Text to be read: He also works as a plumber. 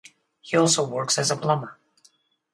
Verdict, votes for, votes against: rejected, 2, 2